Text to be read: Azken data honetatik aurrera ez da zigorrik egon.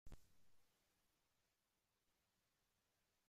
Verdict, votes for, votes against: rejected, 0, 2